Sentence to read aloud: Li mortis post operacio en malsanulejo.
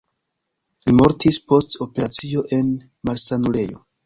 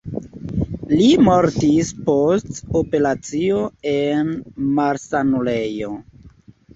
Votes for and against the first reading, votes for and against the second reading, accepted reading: 2, 1, 1, 2, first